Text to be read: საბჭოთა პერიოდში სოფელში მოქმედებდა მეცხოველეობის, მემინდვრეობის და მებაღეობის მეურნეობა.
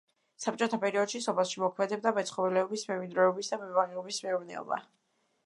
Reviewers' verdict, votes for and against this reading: rejected, 0, 2